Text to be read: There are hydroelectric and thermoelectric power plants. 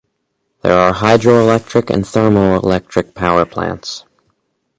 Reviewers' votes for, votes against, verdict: 2, 2, rejected